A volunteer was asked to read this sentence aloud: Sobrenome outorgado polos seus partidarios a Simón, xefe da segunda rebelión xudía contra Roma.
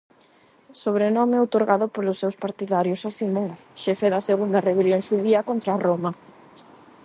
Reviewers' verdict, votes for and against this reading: accepted, 8, 0